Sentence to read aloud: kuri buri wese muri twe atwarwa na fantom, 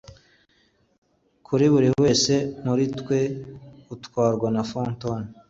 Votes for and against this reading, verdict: 2, 1, accepted